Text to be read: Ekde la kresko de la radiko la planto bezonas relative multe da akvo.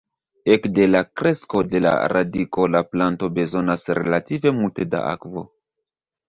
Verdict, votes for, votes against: rejected, 1, 2